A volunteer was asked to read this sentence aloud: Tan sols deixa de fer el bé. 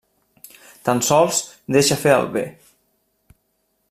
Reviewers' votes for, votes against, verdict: 1, 2, rejected